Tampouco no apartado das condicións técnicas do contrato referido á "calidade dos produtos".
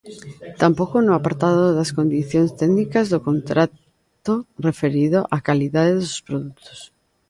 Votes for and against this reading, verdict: 1, 2, rejected